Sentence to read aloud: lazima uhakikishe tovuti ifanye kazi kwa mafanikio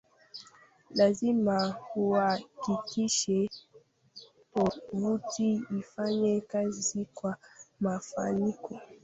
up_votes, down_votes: 0, 3